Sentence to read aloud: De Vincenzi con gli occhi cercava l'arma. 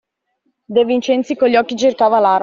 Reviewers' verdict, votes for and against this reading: rejected, 0, 2